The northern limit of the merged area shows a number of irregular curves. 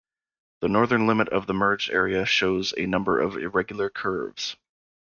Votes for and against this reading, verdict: 2, 0, accepted